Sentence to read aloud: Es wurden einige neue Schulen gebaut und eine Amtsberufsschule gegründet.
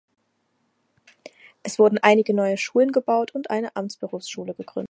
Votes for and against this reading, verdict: 0, 4, rejected